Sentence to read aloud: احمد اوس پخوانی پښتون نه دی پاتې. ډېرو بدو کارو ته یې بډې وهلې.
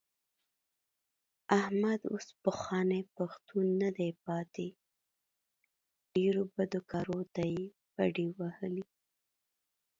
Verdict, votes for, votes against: accepted, 2, 0